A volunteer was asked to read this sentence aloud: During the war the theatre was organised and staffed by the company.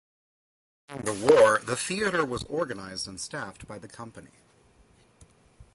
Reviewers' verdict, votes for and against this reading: rejected, 0, 2